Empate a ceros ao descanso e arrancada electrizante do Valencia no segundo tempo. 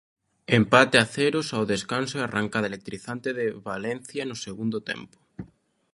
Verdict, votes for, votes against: rejected, 0, 2